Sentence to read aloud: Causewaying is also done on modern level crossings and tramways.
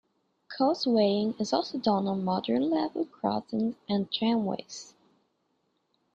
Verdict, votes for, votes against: accepted, 2, 1